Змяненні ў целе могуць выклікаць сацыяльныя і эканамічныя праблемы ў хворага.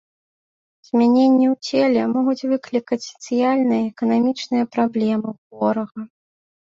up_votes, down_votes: 0, 2